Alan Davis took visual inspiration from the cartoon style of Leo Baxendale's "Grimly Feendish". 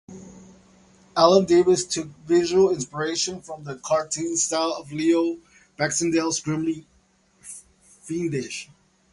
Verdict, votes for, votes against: accepted, 2, 0